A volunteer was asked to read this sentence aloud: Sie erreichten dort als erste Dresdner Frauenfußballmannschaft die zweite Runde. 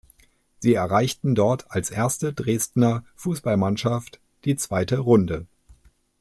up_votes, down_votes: 1, 2